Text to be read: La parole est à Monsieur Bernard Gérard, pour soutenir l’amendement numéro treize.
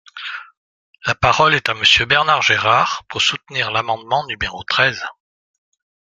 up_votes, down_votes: 2, 0